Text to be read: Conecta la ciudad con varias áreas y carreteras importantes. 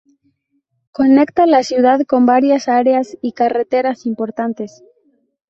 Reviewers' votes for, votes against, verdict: 4, 0, accepted